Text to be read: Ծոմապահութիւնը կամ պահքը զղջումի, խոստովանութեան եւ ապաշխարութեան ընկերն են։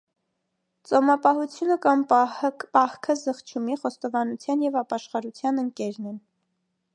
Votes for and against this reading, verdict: 0, 2, rejected